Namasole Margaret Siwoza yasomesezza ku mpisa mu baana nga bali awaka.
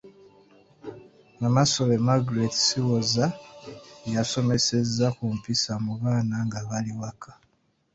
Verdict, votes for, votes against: rejected, 1, 2